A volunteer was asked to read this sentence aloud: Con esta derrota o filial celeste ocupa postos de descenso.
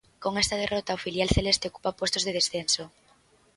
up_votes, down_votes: 2, 1